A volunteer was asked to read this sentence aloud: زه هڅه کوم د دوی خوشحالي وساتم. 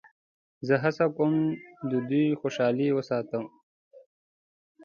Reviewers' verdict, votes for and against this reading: accepted, 2, 0